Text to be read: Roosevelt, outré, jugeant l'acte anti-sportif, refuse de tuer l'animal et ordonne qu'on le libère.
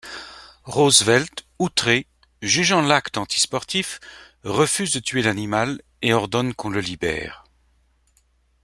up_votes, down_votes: 2, 0